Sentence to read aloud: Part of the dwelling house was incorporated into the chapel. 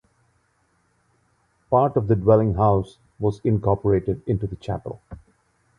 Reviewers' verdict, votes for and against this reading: accepted, 2, 0